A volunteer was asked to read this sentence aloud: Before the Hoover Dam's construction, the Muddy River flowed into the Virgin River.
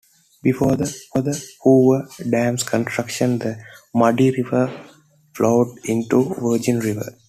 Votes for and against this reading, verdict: 0, 2, rejected